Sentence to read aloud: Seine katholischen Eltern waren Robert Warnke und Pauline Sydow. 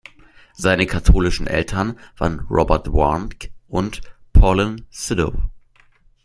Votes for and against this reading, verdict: 1, 2, rejected